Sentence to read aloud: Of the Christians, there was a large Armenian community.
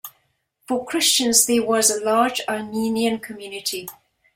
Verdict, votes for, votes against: rejected, 0, 2